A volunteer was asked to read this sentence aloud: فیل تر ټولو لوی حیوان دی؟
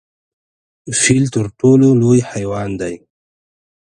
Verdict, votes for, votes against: accepted, 2, 0